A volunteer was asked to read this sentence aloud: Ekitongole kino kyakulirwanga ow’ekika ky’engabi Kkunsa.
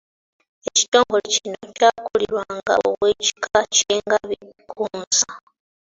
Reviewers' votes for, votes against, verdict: 2, 1, accepted